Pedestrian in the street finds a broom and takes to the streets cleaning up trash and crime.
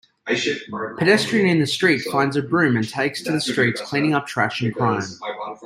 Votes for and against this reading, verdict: 2, 0, accepted